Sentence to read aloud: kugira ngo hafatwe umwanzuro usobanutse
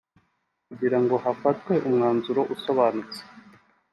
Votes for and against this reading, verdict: 2, 0, accepted